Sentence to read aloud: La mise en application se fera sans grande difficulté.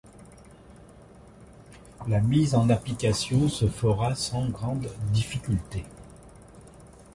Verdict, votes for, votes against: accepted, 2, 0